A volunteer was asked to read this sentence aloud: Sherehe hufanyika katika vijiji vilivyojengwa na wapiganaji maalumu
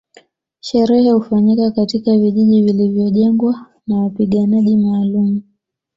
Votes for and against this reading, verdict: 2, 0, accepted